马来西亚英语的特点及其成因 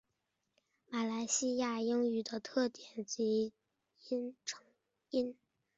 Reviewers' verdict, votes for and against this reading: rejected, 1, 2